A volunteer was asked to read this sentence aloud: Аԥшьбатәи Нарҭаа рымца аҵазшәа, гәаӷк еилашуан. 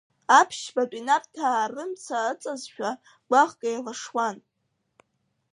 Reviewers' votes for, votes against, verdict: 1, 2, rejected